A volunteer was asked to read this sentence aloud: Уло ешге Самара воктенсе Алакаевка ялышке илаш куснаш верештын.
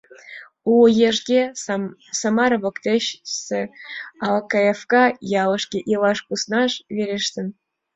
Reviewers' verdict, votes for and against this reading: rejected, 1, 2